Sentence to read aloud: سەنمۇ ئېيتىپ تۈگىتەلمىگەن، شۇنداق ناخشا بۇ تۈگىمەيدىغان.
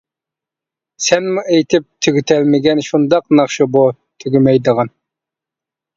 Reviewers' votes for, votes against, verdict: 2, 0, accepted